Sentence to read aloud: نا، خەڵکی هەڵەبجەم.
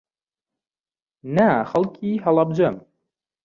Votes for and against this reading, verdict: 2, 0, accepted